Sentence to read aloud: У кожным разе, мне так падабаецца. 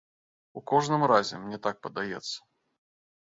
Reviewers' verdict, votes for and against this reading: rejected, 0, 3